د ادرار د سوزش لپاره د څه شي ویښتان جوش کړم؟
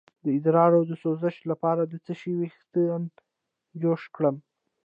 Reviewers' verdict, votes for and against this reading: rejected, 1, 2